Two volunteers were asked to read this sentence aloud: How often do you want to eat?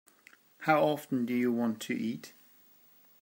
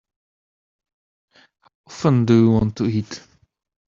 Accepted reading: first